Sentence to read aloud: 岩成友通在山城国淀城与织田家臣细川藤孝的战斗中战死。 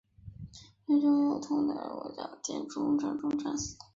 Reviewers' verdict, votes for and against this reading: rejected, 3, 5